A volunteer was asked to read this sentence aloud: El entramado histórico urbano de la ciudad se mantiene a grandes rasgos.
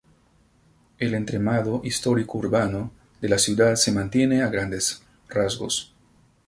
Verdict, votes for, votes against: accepted, 4, 0